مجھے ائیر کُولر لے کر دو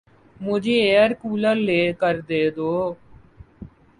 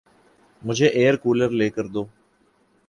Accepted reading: second